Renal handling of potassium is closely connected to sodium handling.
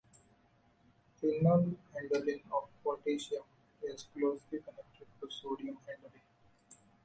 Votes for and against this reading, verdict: 2, 0, accepted